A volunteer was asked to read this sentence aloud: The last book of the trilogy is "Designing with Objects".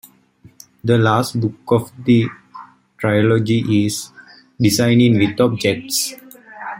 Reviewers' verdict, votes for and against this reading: accepted, 2, 0